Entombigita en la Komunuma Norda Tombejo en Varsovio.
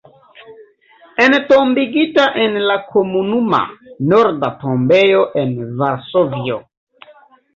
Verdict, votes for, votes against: accepted, 2, 0